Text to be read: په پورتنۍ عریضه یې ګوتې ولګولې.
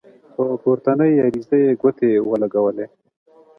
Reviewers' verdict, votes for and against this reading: accepted, 2, 0